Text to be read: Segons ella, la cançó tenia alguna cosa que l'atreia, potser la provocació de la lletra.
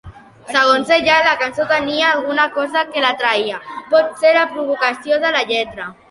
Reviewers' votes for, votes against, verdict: 2, 1, accepted